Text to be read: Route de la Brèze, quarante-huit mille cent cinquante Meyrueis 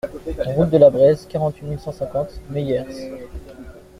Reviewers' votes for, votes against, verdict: 1, 2, rejected